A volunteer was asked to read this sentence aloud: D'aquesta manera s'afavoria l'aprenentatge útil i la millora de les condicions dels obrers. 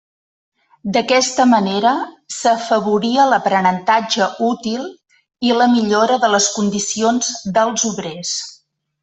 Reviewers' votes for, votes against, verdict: 3, 0, accepted